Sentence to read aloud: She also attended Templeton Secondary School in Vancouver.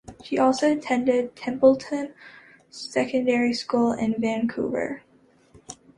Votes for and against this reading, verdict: 2, 0, accepted